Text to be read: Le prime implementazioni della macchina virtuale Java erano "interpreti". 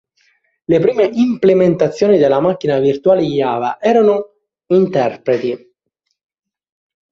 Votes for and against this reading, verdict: 0, 2, rejected